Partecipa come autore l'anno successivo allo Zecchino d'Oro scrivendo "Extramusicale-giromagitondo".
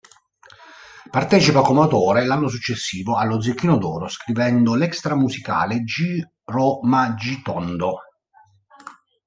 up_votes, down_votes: 0, 2